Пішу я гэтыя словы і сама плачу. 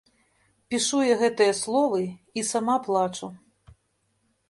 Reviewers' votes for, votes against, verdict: 2, 0, accepted